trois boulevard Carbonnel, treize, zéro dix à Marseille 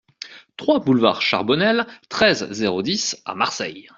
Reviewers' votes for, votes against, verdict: 1, 2, rejected